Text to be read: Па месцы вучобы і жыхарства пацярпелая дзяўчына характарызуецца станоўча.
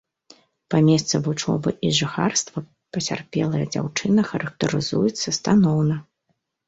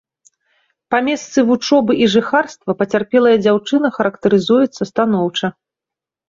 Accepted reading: second